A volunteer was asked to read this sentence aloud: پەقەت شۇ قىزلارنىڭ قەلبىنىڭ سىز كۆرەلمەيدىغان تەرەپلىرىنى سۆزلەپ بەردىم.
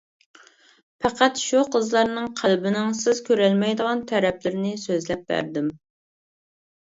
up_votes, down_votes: 2, 0